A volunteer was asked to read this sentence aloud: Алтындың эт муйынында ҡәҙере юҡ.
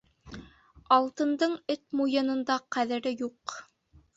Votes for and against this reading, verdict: 3, 1, accepted